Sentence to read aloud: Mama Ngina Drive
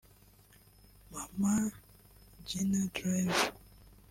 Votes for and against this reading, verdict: 1, 2, rejected